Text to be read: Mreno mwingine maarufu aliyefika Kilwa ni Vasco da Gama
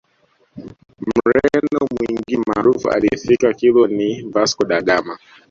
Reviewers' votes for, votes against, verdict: 1, 2, rejected